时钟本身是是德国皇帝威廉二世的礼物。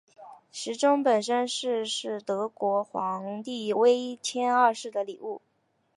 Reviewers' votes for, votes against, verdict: 0, 2, rejected